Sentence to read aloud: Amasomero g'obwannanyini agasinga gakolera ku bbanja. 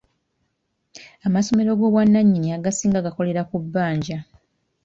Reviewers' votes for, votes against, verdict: 2, 1, accepted